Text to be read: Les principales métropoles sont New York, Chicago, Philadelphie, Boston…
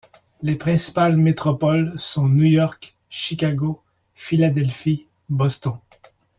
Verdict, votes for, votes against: accepted, 2, 0